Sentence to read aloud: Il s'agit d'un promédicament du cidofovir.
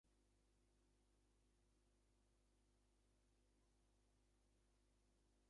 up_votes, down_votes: 0, 2